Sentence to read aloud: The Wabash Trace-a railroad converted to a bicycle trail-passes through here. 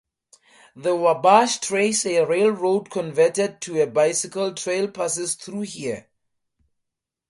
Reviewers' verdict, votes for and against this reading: accepted, 2, 0